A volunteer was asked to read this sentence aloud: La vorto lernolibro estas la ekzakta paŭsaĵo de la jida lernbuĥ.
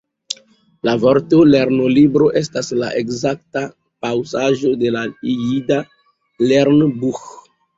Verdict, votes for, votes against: rejected, 0, 2